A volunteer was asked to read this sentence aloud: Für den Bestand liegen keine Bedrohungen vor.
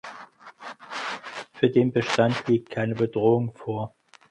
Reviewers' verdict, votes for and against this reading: rejected, 0, 4